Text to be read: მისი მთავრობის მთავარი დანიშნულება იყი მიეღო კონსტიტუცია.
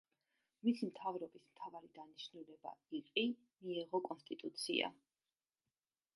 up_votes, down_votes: 0, 2